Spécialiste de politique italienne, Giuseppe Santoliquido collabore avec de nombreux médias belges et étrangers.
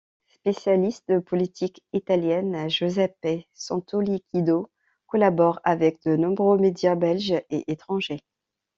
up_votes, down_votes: 2, 0